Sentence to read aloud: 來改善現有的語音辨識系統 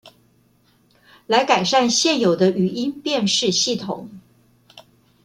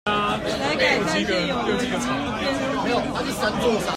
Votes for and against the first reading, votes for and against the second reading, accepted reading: 2, 0, 1, 2, first